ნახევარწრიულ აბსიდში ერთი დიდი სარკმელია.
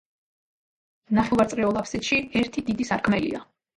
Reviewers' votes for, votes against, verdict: 1, 2, rejected